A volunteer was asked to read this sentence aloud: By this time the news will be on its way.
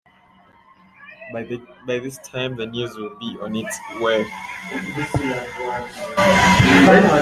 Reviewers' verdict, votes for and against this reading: rejected, 0, 2